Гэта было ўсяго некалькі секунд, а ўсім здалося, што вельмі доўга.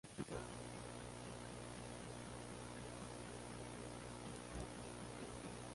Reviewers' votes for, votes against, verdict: 0, 2, rejected